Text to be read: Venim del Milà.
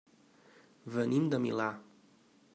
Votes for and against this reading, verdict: 1, 5, rejected